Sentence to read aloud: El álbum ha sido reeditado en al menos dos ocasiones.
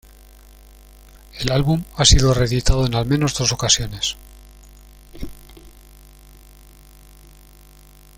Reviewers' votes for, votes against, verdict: 2, 1, accepted